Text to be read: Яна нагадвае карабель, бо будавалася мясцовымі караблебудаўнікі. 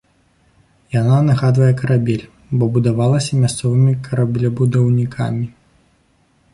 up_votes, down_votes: 0, 2